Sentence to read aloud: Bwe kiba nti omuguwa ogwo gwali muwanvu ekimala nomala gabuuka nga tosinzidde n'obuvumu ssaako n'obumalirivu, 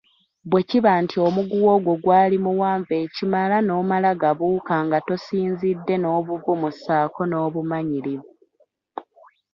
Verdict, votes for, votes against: rejected, 0, 2